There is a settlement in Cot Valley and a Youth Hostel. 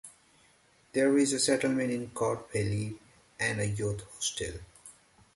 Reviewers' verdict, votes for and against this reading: accepted, 2, 1